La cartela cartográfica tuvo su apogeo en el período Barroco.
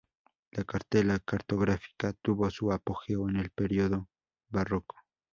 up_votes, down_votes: 4, 0